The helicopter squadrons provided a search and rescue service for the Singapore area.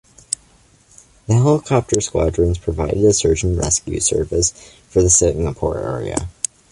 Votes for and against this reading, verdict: 2, 0, accepted